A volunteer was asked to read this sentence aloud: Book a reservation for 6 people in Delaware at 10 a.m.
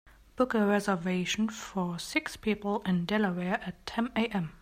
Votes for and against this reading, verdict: 0, 2, rejected